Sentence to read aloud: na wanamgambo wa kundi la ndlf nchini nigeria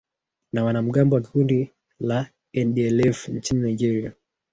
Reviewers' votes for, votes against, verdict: 4, 1, accepted